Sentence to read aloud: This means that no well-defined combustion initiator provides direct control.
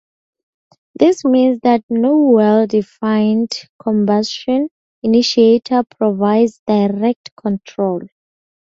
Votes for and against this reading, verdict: 2, 0, accepted